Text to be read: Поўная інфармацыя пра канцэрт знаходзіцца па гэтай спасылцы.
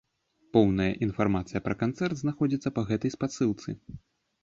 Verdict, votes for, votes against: accepted, 2, 0